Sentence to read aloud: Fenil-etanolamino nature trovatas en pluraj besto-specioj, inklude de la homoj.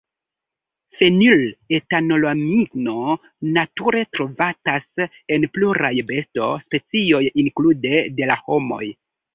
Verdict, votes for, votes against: accepted, 3, 0